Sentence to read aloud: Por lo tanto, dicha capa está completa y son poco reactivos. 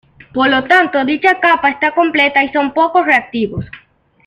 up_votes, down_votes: 2, 0